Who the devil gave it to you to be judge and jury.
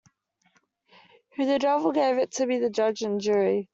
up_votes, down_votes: 0, 2